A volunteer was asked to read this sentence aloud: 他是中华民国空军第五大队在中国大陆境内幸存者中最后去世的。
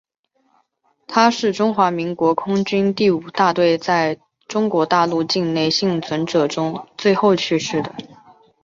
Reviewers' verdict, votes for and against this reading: accepted, 3, 1